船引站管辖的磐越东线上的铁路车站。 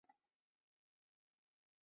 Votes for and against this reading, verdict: 0, 2, rejected